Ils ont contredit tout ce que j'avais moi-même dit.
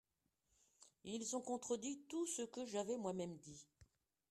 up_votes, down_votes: 2, 0